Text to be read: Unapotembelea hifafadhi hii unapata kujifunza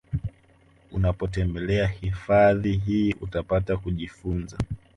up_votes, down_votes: 2, 0